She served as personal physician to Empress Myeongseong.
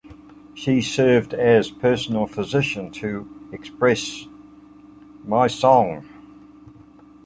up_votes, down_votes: 0, 2